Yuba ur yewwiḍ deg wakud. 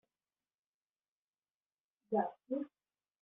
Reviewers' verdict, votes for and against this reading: rejected, 0, 2